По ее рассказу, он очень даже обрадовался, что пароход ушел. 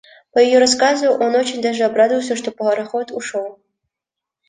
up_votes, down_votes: 2, 1